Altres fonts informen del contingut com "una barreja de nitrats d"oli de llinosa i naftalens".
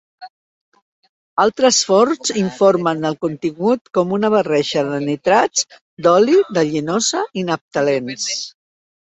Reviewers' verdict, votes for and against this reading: rejected, 0, 4